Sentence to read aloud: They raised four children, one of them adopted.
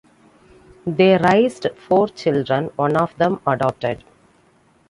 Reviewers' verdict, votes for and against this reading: rejected, 0, 2